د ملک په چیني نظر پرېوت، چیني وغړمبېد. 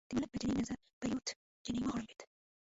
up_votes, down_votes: 2, 3